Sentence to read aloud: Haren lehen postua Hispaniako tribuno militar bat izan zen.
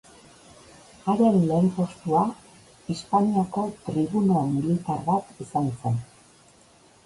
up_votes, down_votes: 1, 2